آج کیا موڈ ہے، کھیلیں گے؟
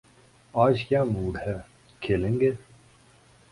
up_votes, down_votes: 2, 0